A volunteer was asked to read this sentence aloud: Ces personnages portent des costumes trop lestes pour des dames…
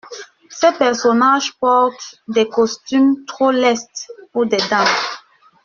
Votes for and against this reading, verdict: 2, 0, accepted